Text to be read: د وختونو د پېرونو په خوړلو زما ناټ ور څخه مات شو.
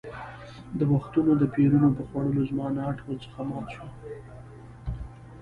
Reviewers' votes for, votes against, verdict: 2, 0, accepted